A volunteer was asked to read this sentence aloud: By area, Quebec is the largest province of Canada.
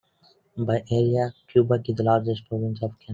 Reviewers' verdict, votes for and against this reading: rejected, 0, 2